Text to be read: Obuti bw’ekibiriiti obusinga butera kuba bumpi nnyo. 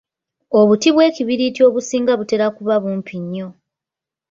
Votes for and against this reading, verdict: 2, 0, accepted